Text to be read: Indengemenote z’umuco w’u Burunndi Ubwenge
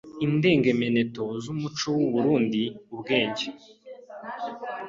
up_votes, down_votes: 2, 3